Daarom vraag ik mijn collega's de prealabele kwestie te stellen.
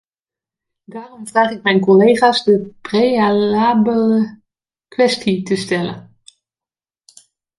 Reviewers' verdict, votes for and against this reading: rejected, 1, 2